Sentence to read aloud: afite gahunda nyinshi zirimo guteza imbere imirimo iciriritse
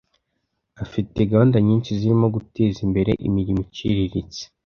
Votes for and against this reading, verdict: 2, 0, accepted